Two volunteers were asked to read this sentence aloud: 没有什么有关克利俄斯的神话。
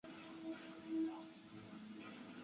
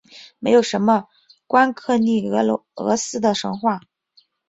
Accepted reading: second